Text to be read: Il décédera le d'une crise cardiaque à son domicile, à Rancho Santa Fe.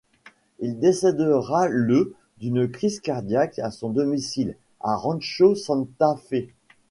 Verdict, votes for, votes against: accepted, 2, 0